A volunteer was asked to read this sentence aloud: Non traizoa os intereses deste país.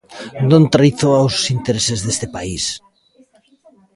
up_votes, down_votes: 1, 2